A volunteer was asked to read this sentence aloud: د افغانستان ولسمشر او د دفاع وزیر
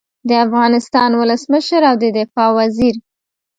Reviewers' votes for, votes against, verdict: 1, 2, rejected